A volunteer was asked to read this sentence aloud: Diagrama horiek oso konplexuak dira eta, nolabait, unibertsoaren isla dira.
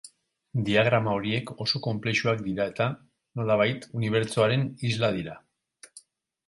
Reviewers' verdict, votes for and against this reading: rejected, 2, 2